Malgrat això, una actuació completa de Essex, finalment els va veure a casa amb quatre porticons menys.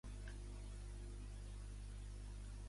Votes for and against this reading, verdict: 0, 2, rejected